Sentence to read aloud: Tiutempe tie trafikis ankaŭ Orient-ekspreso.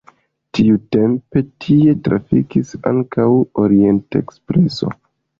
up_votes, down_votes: 1, 2